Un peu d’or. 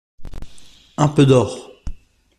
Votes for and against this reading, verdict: 2, 0, accepted